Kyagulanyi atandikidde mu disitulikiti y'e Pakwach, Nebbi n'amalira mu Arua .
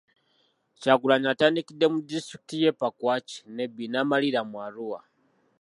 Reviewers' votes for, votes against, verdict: 2, 0, accepted